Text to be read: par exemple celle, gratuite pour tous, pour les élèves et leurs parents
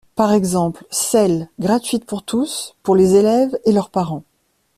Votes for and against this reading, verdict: 2, 0, accepted